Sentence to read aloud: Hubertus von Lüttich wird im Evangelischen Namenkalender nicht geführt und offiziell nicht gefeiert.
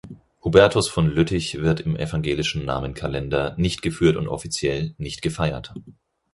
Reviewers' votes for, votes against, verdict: 4, 0, accepted